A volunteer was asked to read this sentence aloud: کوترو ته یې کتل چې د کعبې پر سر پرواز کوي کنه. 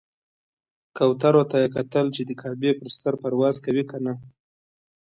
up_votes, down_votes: 2, 0